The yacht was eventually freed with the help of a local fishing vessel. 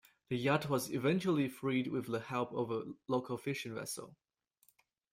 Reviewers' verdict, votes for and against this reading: accepted, 2, 0